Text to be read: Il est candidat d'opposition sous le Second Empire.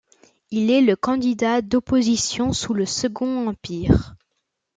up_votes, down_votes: 1, 2